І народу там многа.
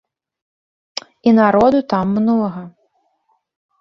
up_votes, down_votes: 3, 0